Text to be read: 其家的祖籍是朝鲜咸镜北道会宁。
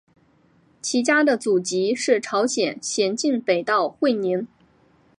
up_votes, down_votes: 3, 0